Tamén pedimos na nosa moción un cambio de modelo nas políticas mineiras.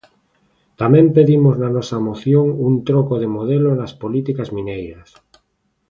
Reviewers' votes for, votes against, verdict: 0, 2, rejected